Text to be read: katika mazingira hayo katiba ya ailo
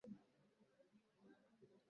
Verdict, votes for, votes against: rejected, 0, 2